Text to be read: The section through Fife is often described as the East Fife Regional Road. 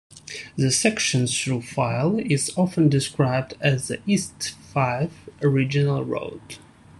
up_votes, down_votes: 0, 2